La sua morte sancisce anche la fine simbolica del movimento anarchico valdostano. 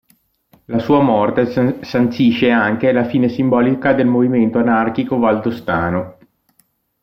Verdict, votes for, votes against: rejected, 1, 2